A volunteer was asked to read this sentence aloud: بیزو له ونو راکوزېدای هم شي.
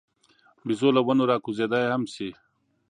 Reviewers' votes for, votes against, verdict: 2, 0, accepted